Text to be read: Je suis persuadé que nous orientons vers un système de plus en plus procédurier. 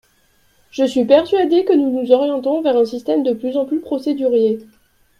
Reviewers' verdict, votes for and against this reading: rejected, 0, 2